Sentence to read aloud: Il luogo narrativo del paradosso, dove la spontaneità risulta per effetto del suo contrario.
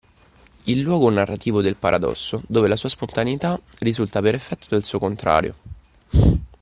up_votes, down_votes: 0, 2